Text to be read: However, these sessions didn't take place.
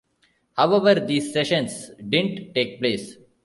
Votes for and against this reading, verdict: 1, 3, rejected